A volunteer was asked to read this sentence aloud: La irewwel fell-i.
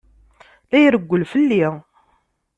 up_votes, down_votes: 2, 0